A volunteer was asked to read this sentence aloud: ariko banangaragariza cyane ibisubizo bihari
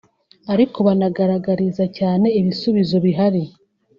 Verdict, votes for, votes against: accepted, 3, 0